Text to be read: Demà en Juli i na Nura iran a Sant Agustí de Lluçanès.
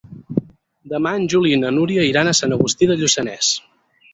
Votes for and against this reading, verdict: 4, 6, rejected